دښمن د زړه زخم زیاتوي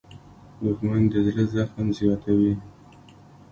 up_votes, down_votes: 1, 2